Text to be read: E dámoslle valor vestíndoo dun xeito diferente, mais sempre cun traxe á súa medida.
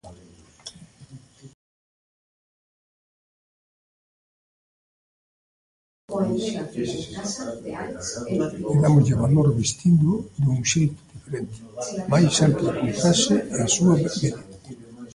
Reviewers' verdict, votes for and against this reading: rejected, 0, 2